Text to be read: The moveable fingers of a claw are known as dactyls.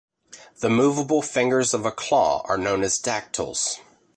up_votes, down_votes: 2, 0